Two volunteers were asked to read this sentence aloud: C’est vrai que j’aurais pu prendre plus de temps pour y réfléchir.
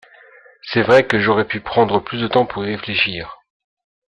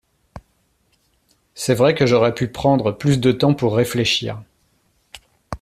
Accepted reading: first